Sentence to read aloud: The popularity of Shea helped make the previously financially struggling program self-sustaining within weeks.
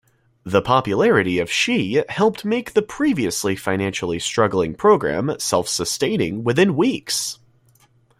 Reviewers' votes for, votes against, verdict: 2, 1, accepted